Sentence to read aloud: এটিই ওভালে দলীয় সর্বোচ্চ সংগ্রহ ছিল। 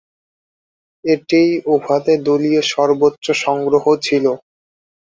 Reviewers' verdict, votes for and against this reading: rejected, 1, 2